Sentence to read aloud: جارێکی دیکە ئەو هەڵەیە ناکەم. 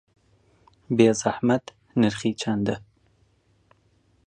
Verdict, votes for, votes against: rejected, 0, 2